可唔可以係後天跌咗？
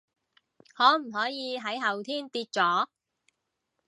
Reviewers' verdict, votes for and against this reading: rejected, 0, 2